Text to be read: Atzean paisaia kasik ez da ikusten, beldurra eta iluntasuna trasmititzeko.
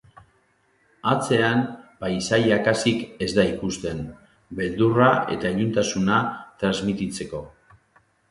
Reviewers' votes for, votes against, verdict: 3, 1, accepted